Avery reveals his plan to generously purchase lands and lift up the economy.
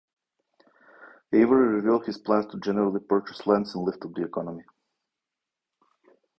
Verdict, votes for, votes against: rejected, 1, 2